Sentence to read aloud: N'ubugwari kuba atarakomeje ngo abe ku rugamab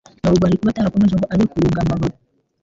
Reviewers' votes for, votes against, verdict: 0, 2, rejected